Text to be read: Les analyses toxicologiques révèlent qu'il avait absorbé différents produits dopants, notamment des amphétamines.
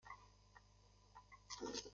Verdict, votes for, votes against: rejected, 0, 2